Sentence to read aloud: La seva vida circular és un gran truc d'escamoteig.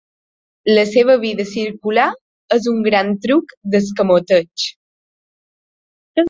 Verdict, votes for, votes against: accepted, 2, 0